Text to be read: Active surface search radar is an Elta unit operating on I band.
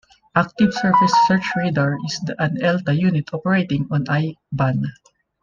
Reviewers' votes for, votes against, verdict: 1, 2, rejected